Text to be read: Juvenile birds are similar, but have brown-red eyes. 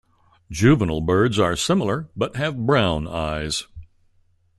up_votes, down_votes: 1, 2